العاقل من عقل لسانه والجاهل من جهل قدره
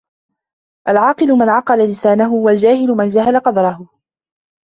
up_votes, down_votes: 2, 0